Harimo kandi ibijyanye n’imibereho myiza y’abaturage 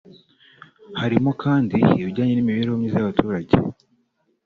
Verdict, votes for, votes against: rejected, 1, 2